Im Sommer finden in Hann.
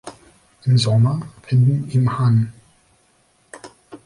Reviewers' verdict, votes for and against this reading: rejected, 1, 2